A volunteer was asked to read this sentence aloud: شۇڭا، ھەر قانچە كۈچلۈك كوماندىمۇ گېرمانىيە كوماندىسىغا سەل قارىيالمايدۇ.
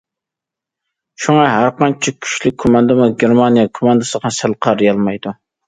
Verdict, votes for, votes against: accepted, 2, 0